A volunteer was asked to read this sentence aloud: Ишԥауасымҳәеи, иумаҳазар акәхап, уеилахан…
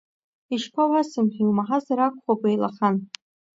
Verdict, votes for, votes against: rejected, 1, 2